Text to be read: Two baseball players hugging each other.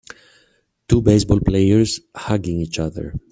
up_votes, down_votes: 2, 1